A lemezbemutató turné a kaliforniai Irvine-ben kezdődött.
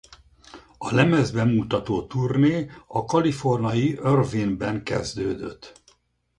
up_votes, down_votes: 0, 4